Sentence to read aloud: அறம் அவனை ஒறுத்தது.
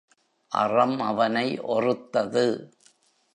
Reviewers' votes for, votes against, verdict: 2, 1, accepted